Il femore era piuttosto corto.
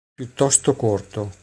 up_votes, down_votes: 0, 2